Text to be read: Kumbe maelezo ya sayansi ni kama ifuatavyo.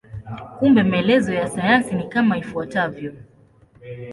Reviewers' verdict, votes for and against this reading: accepted, 2, 0